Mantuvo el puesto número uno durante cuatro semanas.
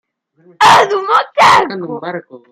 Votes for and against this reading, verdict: 0, 2, rejected